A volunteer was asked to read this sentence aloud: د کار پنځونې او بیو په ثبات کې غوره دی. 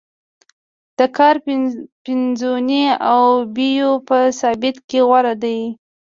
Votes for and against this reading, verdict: 1, 2, rejected